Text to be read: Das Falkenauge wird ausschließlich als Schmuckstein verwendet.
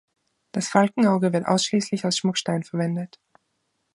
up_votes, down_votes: 2, 0